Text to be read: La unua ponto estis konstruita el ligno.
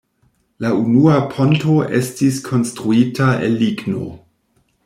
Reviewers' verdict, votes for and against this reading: accepted, 2, 1